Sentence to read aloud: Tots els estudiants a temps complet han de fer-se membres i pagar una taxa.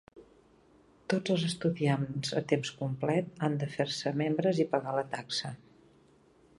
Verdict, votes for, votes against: rejected, 0, 2